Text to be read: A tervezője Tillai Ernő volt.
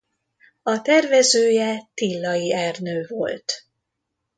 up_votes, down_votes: 2, 0